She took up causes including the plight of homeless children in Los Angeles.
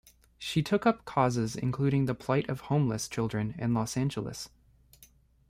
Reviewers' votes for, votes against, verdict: 0, 2, rejected